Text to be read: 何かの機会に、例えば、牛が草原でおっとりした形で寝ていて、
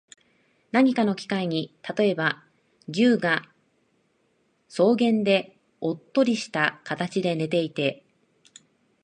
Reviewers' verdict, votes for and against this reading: rejected, 1, 2